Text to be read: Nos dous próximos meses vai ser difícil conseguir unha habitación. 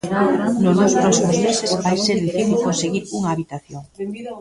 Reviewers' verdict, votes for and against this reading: rejected, 0, 2